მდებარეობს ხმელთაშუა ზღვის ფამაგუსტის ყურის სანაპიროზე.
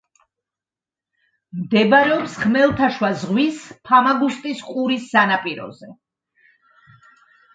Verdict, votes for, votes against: accepted, 2, 0